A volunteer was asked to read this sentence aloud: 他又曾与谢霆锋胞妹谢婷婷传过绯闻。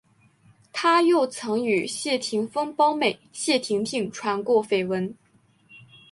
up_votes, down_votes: 2, 0